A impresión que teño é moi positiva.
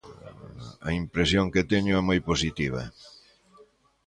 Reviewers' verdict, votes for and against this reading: rejected, 1, 2